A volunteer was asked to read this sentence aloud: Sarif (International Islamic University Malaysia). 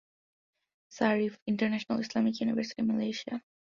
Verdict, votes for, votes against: accepted, 2, 0